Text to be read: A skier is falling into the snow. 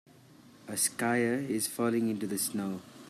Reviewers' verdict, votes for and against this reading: accepted, 2, 1